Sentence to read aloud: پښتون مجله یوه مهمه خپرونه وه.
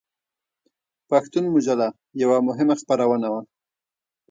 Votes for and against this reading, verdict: 2, 1, accepted